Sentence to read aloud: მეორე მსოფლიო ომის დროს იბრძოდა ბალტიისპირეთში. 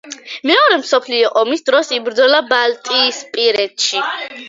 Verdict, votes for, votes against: rejected, 0, 2